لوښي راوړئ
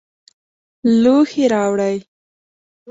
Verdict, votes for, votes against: accepted, 2, 0